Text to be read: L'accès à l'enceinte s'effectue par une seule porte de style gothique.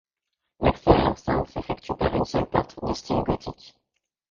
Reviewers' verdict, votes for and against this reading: rejected, 1, 2